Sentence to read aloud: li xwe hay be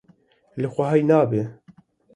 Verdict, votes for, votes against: rejected, 1, 2